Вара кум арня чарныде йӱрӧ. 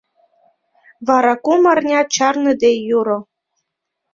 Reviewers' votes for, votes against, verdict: 2, 1, accepted